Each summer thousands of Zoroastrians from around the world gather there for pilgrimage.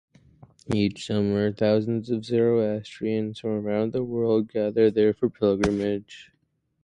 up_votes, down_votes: 2, 2